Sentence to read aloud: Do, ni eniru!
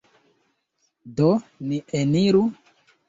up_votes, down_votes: 2, 1